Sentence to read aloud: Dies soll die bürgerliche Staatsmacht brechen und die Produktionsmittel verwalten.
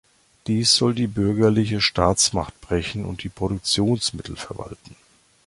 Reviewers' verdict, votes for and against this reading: accepted, 2, 0